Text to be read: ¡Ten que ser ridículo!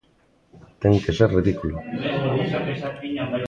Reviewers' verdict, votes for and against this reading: rejected, 0, 2